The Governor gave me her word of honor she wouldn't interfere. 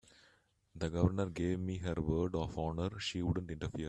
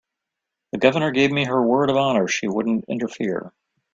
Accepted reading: second